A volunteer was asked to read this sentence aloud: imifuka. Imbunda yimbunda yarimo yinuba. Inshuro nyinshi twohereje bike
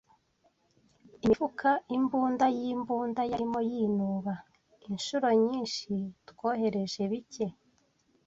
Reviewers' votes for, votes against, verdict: 0, 2, rejected